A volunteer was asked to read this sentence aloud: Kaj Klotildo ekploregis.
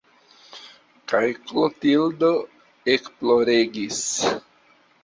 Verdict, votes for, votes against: accepted, 3, 0